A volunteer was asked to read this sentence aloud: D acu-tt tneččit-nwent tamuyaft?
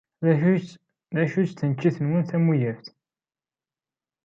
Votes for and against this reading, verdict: 0, 2, rejected